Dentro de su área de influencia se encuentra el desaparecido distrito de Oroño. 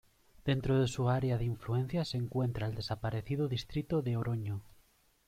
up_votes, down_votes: 2, 0